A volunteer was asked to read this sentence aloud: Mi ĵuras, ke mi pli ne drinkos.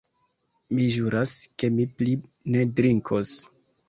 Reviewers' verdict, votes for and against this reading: accepted, 2, 1